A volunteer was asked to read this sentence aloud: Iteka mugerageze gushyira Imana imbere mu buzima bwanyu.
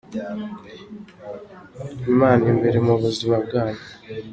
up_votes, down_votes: 0, 2